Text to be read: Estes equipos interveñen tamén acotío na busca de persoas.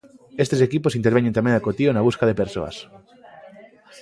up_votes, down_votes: 2, 0